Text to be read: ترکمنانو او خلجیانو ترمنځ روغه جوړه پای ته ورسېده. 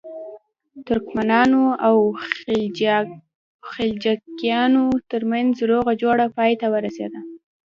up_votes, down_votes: 0, 2